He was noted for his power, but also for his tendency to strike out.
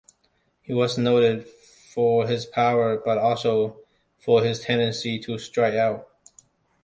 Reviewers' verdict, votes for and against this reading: accepted, 2, 0